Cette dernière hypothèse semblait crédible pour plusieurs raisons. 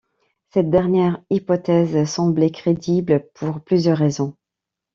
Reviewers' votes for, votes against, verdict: 2, 0, accepted